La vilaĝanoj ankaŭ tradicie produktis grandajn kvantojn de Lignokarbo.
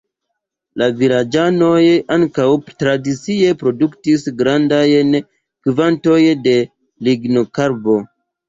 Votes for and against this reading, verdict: 2, 0, accepted